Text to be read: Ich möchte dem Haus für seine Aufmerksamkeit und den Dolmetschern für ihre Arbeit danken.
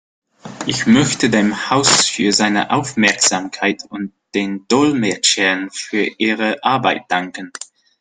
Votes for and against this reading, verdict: 2, 0, accepted